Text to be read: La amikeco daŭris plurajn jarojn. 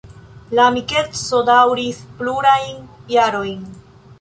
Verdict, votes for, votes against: accepted, 2, 0